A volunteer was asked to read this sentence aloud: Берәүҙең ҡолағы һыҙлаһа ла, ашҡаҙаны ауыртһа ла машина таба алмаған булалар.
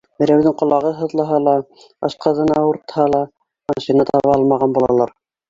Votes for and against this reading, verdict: 1, 2, rejected